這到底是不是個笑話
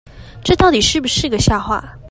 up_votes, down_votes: 2, 0